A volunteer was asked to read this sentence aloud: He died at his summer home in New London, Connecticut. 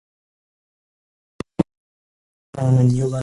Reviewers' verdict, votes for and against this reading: rejected, 0, 2